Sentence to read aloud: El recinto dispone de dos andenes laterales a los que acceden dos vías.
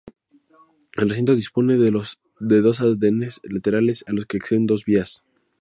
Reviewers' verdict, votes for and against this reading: accepted, 2, 0